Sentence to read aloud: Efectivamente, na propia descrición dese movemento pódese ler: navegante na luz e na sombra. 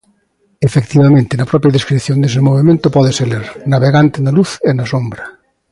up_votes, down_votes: 2, 0